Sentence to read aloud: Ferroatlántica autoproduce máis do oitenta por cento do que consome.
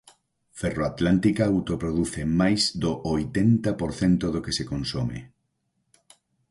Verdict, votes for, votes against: rejected, 0, 4